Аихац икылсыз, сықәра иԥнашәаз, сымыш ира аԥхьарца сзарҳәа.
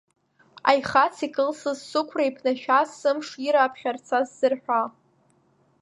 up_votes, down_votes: 3, 1